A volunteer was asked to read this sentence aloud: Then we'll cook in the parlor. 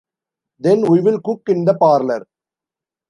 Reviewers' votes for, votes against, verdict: 2, 1, accepted